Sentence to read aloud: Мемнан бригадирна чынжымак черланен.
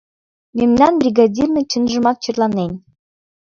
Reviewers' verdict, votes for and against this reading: accepted, 2, 0